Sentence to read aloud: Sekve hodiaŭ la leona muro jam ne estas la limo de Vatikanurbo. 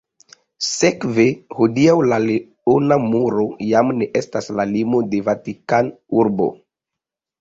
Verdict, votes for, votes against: accepted, 2, 0